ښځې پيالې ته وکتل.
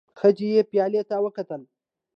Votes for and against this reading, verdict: 2, 0, accepted